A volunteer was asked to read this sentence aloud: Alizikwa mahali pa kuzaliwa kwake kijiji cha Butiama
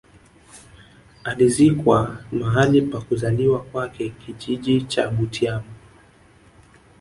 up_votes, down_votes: 2, 0